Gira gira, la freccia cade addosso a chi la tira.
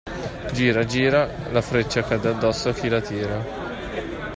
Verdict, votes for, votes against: accepted, 2, 0